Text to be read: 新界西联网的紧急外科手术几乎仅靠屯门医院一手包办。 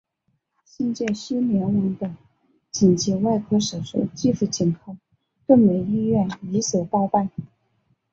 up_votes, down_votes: 0, 2